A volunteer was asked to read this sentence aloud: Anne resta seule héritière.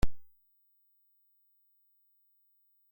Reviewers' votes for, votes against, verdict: 0, 2, rejected